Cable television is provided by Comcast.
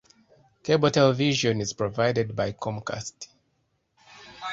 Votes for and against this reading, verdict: 0, 2, rejected